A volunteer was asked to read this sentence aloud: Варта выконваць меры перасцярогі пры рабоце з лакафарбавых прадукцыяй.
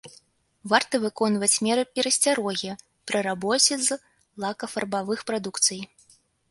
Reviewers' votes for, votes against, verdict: 1, 2, rejected